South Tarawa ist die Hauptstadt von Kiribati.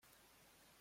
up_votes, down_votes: 0, 2